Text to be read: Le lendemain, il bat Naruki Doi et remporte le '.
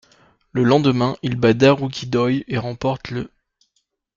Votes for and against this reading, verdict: 0, 2, rejected